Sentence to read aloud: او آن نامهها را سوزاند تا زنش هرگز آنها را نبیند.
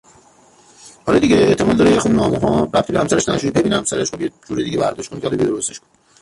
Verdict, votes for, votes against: rejected, 0, 2